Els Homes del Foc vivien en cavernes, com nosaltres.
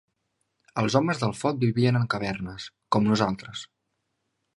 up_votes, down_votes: 2, 0